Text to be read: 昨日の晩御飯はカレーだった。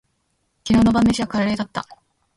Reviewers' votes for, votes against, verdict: 1, 2, rejected